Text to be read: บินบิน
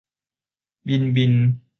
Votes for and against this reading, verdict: 2, 0, accepted